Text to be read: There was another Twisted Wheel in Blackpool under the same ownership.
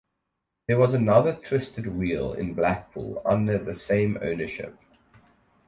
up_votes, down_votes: 4, 0